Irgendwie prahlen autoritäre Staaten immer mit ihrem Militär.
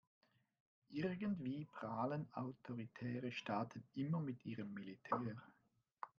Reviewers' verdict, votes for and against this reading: rejected, 1, 2